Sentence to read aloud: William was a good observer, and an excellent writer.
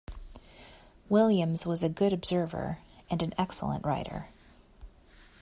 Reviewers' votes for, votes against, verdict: 1, 2, rejected